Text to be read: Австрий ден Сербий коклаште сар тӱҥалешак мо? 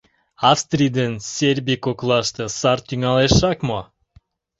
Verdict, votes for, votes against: accepted, 2, 0